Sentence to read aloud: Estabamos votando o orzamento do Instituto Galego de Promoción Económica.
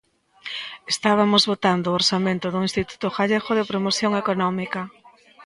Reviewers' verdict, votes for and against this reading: rejected, 1, 2